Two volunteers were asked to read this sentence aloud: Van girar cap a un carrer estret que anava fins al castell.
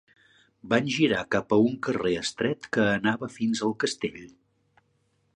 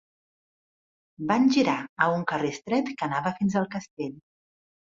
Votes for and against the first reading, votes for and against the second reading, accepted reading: 3, 0, 2, 4, first